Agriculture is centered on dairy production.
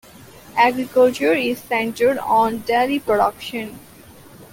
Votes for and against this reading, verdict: 2, 0, accepted